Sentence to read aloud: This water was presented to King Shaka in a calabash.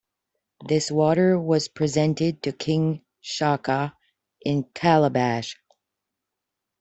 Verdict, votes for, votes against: rejected, 0, 2